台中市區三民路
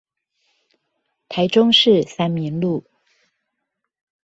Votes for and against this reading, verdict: 1, 2, rejected